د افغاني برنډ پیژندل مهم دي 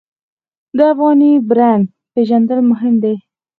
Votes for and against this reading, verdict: 2, 4, rejected